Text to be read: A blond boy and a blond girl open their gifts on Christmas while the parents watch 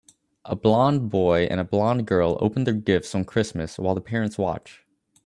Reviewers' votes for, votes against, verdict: 2, 0, accepted